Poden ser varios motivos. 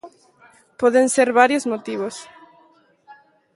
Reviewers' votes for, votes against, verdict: 2, 1, accepted